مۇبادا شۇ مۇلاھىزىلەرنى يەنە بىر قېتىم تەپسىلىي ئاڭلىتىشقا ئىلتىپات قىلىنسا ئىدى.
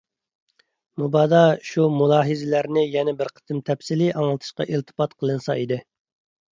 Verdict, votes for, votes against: accepted, 2, 0